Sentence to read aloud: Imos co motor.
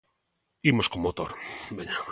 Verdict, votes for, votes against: rejected, 0, 2